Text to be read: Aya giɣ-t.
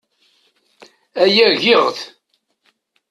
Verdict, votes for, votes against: accepted, 2, 0